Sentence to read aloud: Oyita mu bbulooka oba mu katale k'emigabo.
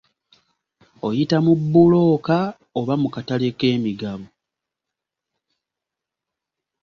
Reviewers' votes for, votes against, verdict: 2, 1, accepted